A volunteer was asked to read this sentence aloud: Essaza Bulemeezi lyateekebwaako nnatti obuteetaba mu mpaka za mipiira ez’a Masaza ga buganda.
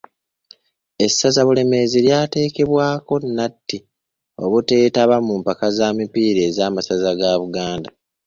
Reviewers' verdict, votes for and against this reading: accepted, 2, 0